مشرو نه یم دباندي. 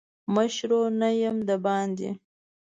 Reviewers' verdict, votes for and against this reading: accepted, 2, 0